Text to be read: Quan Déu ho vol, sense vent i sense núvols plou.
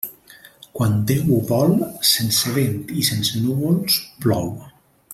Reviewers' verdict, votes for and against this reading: accepted, 2, 0